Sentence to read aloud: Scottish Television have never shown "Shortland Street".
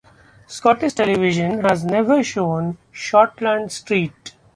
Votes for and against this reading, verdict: 1, 2, rejected